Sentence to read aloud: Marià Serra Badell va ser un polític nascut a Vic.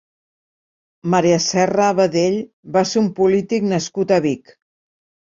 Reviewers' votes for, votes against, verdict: 1, 2, rejected